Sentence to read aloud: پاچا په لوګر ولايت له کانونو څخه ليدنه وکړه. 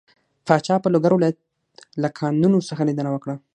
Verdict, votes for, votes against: accepted, 6, 0